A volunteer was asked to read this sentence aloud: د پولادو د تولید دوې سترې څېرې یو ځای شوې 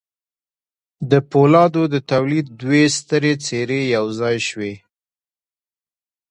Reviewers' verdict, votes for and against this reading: accepted, 2, 1